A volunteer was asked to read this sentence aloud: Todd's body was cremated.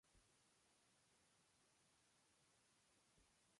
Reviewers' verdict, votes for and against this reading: rejected, 0, 2